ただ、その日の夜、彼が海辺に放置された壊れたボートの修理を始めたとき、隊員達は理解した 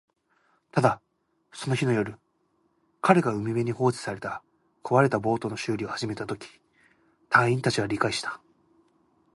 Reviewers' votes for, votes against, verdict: 2, 0, accepted